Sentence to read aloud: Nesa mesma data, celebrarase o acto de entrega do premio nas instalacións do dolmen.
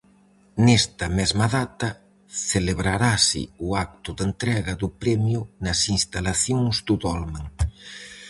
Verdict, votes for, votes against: rejected, 0, 4